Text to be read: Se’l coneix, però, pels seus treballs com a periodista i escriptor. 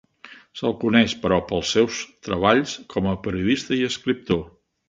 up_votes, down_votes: 3, 1